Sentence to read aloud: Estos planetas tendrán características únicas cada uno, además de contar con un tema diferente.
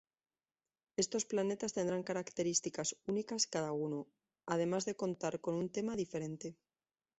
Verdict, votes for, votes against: accepted, 2, 0